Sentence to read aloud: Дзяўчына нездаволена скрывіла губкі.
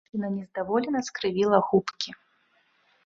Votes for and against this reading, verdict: 0, 2, rejected